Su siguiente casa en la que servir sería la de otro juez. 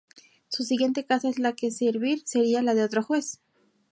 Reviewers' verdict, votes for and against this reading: rejected, 0, 2